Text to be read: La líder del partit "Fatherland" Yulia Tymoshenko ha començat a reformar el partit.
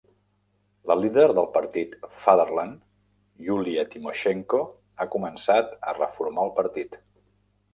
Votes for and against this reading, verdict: 2, 0, accepted